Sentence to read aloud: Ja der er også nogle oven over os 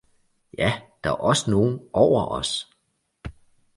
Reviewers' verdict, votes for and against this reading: rejected, 0, 2